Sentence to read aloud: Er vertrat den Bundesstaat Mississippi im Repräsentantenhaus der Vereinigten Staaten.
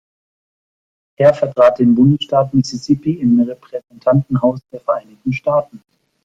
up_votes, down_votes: 2, 1